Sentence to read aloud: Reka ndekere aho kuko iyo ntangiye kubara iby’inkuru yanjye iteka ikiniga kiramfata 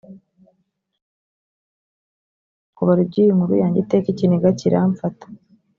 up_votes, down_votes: 1, 2